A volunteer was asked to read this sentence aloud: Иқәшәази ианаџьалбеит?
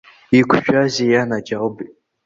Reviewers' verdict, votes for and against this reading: accepted, 2, 1